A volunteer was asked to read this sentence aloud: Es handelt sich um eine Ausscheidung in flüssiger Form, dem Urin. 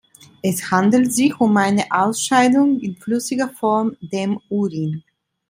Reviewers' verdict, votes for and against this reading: accepted, 2, 0